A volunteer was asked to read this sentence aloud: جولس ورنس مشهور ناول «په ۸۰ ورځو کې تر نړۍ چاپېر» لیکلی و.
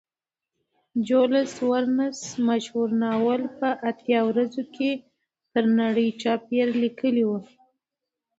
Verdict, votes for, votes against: rejected, 0, 2